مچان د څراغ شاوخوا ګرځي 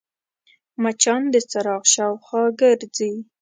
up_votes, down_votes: 2, 0